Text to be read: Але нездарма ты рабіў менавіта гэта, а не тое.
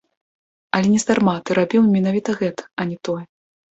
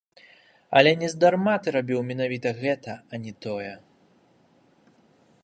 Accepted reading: first